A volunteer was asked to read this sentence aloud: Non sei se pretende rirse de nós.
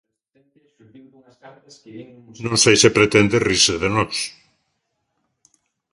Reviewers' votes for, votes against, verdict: 1, 2, rejected